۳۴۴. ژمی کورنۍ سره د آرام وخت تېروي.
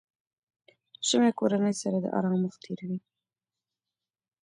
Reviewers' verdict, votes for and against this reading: rejected, 0, 2